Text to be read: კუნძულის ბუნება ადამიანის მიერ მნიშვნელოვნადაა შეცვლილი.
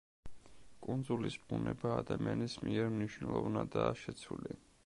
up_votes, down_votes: 2, 1